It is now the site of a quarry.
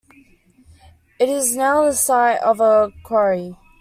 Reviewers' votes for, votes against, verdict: 2, 0, accepted